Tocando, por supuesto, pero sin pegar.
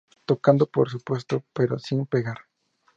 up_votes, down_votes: 2, 0